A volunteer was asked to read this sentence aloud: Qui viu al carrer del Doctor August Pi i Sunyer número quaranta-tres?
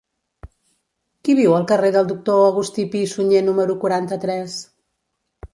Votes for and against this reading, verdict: 1, 2, rejected